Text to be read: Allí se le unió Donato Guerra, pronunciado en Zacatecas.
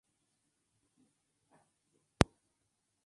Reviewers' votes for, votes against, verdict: 0, 4, rejected